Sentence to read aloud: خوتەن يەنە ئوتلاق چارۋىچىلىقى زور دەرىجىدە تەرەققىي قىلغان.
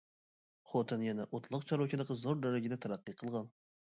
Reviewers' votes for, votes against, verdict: 2, 0, accepted